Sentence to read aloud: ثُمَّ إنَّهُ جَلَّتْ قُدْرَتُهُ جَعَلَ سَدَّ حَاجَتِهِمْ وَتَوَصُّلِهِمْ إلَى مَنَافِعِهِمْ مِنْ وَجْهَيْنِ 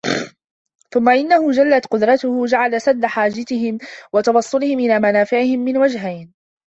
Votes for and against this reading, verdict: 2, 0, accepted